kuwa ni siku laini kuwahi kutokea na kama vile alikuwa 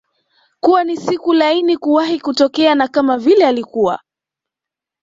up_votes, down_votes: 2, 0